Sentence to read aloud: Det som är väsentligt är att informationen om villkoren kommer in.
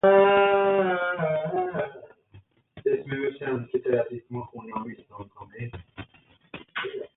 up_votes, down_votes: 0, 2